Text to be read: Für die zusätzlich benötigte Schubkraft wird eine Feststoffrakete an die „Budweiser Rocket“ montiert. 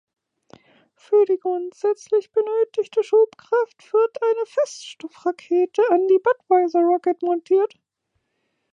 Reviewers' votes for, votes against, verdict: 0, 2, rejected